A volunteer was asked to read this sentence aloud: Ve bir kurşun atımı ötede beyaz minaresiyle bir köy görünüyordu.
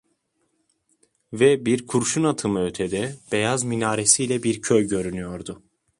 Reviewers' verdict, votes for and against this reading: accepted, 2, 0